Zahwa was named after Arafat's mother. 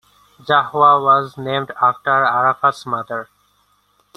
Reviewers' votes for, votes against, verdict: 2, 0, accepted